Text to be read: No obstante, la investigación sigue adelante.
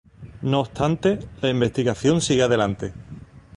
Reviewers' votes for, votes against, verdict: 2, 0, accepted